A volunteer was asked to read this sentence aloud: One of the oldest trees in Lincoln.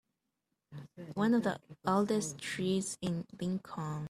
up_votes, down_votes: 1, 2